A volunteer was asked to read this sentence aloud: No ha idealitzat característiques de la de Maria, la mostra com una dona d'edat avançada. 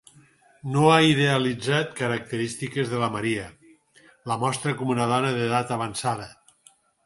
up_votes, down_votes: 0, 4